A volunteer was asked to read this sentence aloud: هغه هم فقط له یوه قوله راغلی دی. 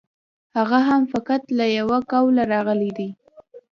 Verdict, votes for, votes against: accepted, 2, 0